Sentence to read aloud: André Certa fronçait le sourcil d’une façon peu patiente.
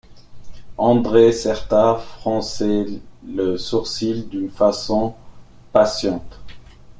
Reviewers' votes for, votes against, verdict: 0, 2, rejected